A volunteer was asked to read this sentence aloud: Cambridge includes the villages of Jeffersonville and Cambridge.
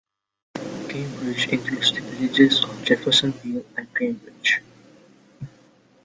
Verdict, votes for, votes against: rejected, 0, 2